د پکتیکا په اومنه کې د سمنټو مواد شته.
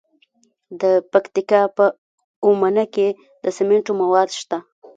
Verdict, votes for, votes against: accepted, 2, 0